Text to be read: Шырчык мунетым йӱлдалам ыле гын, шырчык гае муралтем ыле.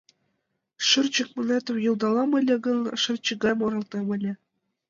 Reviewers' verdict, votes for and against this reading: accepted, 2, 0